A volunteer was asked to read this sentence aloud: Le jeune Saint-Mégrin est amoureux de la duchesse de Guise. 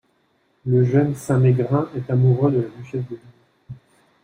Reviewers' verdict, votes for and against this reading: rejected, 0, 2